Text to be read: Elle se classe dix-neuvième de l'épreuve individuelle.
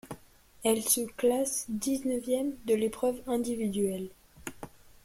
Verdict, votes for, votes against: accepted, 2, 0